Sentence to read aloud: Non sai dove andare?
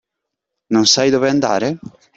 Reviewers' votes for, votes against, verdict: 2, 0, accepted